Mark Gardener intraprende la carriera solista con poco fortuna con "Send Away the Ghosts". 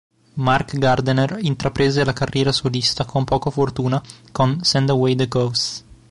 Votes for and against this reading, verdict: 0, 2, rejected